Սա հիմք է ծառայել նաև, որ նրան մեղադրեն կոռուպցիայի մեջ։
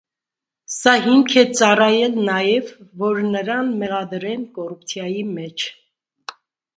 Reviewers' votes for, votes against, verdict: 2, 0, accepted